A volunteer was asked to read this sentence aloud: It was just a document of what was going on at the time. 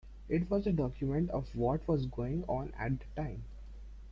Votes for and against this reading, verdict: 2, 0, accepted